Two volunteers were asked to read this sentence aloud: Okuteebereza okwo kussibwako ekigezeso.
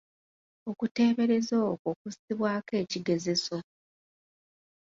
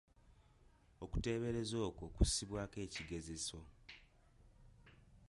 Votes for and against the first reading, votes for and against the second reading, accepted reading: 2, 0, 0, 2, first